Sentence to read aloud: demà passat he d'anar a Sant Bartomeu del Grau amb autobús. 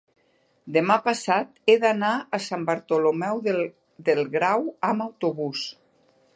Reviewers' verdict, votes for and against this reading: rejected, 0, 2